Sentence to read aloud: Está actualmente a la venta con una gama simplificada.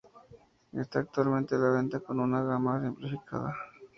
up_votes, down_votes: 2, 0